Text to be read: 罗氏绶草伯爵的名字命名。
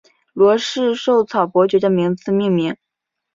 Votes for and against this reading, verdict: 4, 0, accepted